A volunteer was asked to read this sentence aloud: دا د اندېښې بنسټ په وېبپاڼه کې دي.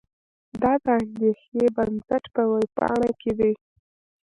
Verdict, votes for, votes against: accepted, 2, 0